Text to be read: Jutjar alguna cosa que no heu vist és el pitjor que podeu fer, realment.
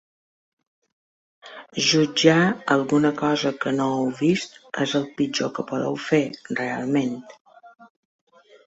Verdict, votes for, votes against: accepted, 2, 0